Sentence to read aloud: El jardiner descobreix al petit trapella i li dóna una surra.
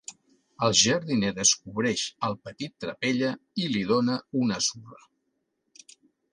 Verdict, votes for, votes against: accepted, 2, 0